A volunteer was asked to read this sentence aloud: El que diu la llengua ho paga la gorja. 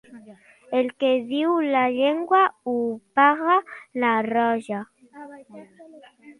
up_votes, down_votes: 1, 2